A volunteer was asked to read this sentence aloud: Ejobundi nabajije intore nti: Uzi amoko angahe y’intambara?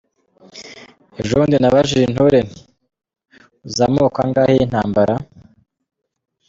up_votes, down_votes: 2, 0